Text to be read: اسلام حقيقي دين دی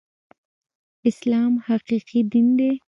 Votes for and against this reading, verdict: 1, 2, rejected